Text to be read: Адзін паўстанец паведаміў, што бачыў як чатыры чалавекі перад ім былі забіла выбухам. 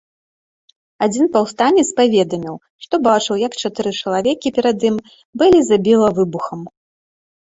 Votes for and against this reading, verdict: 2, 0, accepted